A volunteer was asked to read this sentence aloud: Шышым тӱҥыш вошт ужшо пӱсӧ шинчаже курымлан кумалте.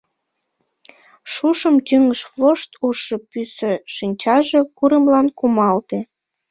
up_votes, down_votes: 1, 2